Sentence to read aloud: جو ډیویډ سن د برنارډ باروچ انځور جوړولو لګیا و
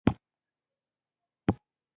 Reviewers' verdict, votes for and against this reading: rejected, 0, 2